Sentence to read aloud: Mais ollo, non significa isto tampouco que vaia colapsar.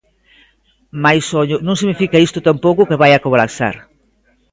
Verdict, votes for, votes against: rejected, 1, 2